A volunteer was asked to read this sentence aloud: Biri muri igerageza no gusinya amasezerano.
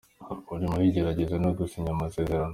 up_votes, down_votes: 2, 0